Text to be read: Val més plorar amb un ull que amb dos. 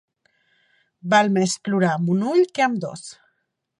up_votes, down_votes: 2, 0